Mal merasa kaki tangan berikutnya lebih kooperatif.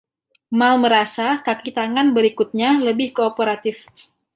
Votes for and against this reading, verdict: 2, 0, accepted